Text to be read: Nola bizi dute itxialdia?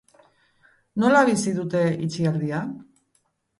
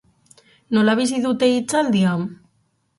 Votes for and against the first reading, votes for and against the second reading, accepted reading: 2, 0, 0, 4, first